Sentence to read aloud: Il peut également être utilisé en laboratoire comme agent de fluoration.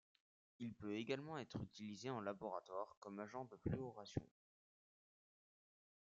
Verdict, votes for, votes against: accepted, 2, 0